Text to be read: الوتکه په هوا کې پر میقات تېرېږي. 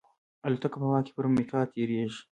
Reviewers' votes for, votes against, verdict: 2, 0, accepted